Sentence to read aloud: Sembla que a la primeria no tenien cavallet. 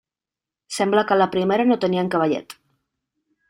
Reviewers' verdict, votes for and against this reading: rejected, 1, 2